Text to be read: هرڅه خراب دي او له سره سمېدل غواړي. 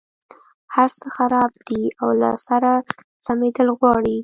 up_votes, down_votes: 2, 0